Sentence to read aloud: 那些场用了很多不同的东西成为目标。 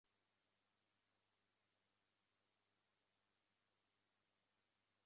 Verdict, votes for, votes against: rejected, 0, 3